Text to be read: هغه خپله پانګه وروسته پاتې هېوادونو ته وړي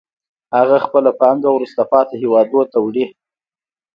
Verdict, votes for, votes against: accepted, 2, 0